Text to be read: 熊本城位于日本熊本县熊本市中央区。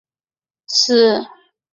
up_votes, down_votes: 0, 2